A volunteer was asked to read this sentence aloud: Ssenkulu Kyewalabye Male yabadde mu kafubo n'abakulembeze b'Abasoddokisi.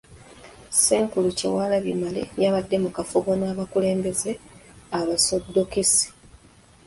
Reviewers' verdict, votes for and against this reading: rejected, 1, 2